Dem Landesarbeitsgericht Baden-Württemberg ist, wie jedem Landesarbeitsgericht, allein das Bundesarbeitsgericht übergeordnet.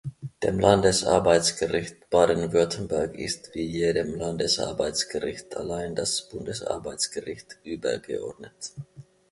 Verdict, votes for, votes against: accepted, 2, 0